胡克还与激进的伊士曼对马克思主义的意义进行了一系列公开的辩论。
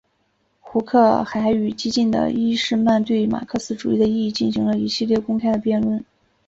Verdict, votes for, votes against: accepted, 2, 1